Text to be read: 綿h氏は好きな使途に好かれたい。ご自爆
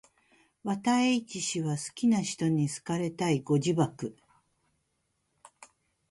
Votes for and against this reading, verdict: 2, 0, accepted